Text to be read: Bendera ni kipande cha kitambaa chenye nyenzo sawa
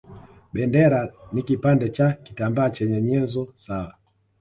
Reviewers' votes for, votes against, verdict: 2, 0, accepted